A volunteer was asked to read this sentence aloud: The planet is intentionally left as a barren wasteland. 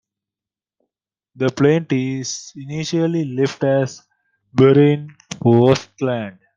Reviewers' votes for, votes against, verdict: 0, 2, rejected